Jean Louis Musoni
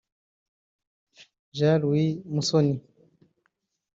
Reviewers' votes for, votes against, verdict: 1, 2, rejected